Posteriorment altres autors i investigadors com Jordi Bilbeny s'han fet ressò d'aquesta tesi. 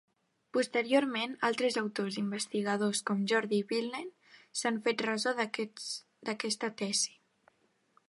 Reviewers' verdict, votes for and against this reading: rejected, 0, 2